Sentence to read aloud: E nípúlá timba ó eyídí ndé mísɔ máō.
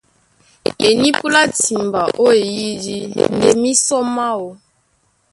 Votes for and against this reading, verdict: 0, 2, rejected